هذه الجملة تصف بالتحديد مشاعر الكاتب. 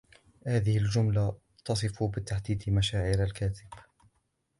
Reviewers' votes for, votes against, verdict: 2, 0, accepted